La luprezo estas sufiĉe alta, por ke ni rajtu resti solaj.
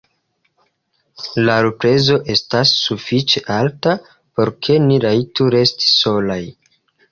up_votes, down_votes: 0, 3